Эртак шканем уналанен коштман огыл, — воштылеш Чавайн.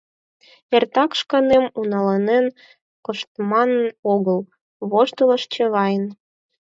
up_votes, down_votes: 4, 2